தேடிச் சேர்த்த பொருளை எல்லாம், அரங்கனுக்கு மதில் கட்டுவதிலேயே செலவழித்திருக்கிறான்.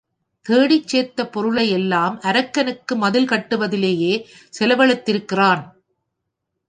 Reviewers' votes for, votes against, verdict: 1, 2, rejected